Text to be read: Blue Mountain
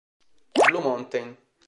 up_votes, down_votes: 0, 2